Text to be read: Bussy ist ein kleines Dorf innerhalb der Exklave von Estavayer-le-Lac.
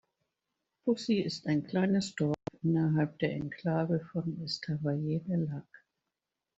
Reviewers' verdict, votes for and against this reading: rejected, 1, 2